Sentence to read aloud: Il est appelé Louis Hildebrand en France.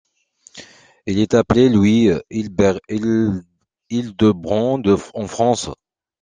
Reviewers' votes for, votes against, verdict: 0, 2, rejected